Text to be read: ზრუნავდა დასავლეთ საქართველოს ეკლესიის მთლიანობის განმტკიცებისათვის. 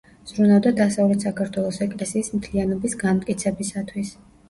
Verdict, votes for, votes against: rejected, 1, 2